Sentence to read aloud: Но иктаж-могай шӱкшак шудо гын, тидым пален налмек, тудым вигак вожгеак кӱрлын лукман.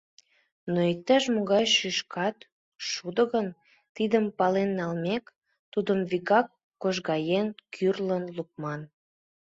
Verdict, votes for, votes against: rejected, 1, 2